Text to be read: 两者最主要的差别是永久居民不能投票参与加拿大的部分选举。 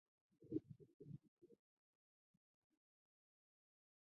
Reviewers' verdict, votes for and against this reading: rejected, 0, 2